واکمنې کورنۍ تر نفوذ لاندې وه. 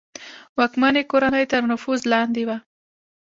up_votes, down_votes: 1, 2